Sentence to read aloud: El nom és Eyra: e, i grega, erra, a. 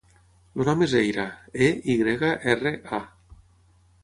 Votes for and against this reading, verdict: 0, 6, rejected